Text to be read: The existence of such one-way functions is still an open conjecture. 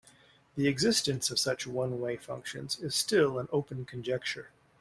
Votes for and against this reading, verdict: 2, 0, accepted